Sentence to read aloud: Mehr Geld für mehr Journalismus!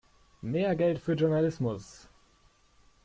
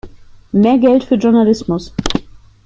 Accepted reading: second